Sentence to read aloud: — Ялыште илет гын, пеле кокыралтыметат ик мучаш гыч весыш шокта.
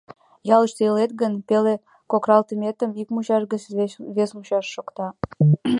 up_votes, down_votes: 1, 2